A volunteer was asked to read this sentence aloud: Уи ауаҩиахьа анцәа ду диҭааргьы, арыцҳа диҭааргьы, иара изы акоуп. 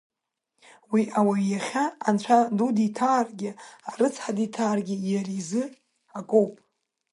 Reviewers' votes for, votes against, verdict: 2, 1, accepted